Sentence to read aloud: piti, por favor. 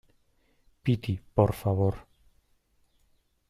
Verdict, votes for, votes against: accepted, 2, 0